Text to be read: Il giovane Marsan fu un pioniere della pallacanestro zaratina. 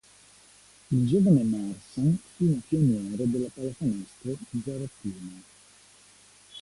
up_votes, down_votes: 2, 0